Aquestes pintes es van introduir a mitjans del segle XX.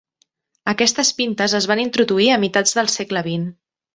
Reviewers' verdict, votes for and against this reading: rejected, 0, 2